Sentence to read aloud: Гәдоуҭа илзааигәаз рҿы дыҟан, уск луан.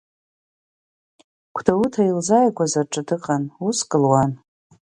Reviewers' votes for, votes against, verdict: 2, 0, accepted